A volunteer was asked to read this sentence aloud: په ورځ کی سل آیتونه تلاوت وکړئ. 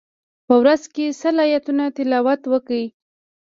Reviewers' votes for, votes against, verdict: 1, 2, rejected